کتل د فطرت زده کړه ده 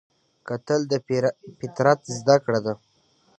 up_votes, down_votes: 2, 0